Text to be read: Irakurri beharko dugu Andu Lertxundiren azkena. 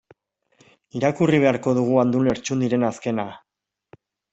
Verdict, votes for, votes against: accepted, 2, 0